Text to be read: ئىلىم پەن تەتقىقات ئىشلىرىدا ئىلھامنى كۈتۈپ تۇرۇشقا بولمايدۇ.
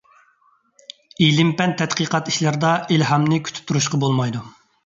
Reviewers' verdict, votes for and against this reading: accepted, 2, 0